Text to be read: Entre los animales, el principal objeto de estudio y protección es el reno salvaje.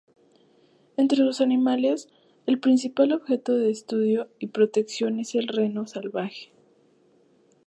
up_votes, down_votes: 2, 0